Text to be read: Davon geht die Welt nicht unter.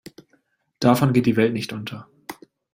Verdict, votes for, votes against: accepted, 2, 0